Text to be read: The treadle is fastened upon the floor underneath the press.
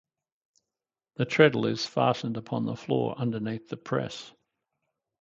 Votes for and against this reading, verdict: 4, 0, accepted